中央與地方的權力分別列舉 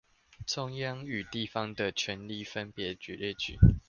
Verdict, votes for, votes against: rejected, 0, 2